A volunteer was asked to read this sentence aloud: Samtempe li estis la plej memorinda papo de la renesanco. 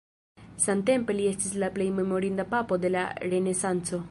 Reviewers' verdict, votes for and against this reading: rejected, 0, 2